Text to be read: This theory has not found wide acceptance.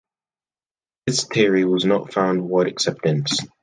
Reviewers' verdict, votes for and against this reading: rejected, 1, 2